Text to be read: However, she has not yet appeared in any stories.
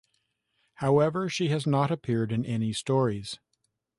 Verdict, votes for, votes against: rejected, 0, 2